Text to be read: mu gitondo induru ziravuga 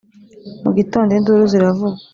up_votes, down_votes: 2, 0